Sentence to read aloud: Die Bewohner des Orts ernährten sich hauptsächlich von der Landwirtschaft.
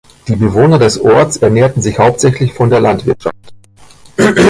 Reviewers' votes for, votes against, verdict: 3, 0, accepted